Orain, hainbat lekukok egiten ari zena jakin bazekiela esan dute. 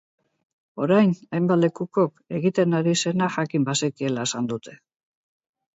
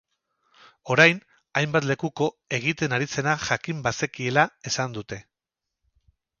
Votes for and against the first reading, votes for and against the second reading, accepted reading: 4, 0, 2, 4, first